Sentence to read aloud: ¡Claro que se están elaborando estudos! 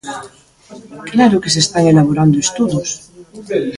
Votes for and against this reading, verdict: 2, 0, accepted